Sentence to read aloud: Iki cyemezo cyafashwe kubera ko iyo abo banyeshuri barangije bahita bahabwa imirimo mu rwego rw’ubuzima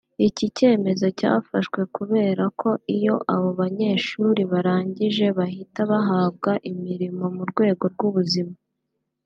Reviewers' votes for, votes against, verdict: 2, 0, accepted